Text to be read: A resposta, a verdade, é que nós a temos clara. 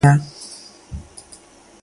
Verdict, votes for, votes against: rejected, 0, 2